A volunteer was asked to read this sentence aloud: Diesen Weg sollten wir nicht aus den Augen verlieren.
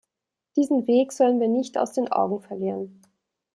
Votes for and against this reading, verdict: 0, 2, rejected